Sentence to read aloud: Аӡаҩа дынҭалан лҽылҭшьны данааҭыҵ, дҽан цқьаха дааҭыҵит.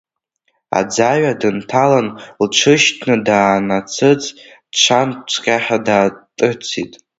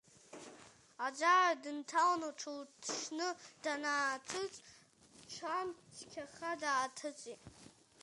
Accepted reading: second